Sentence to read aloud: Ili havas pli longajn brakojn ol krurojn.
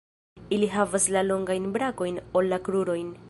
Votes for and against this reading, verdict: 0, 2, rejected